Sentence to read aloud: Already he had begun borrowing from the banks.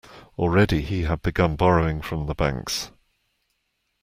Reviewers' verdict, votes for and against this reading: accepted, 2, 0